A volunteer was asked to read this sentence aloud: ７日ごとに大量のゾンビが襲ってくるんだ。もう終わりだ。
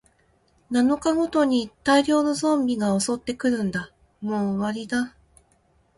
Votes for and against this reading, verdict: 0, 2, rejected